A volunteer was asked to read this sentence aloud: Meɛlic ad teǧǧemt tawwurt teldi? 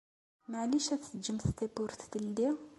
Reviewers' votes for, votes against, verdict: 2, 0, accepted